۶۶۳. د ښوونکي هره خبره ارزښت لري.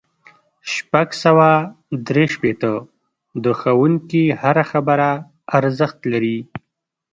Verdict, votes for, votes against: rejected, 0, 2